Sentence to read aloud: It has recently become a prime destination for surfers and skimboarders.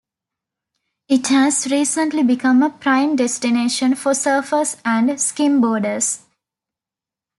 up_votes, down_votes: 2, 1